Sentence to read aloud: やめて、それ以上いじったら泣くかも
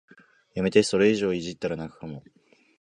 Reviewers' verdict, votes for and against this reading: accepted, 2, 0